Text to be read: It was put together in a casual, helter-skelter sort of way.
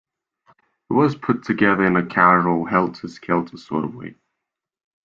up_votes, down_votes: 2, 0